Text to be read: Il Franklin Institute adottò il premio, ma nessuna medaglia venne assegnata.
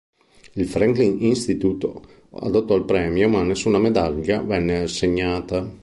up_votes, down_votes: 3, 0